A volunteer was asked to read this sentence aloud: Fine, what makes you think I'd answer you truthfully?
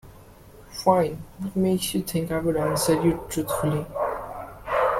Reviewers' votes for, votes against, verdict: 0, 2, rejected